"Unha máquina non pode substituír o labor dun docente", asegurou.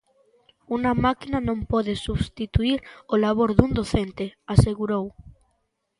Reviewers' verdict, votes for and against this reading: accepted, 2, 0